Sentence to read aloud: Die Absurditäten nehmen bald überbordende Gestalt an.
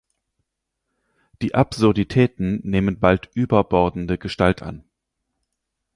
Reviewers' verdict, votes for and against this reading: accepted, 4, 0